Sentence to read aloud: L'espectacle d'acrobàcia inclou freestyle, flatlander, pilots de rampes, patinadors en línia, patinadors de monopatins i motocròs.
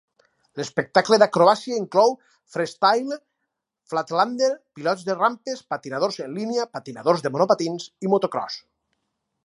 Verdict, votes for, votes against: rejected, 2, 2